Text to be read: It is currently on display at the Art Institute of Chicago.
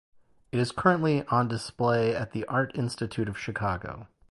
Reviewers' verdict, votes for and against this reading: accepted, 2, 0